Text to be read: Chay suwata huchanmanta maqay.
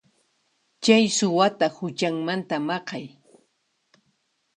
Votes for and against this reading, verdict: 2, 0, accepted